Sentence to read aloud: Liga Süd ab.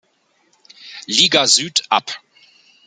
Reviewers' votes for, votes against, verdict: 2, 0, accepted